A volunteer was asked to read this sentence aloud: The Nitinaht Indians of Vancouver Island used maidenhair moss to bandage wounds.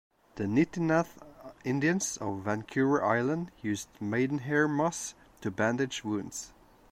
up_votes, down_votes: 1, 2